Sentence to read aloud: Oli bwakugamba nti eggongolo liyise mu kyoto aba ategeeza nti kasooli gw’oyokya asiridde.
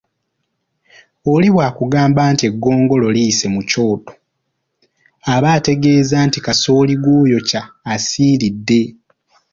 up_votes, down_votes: 1, 2